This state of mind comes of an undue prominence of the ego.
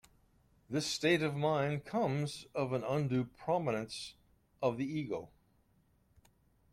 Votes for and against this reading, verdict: 2, 0, accepted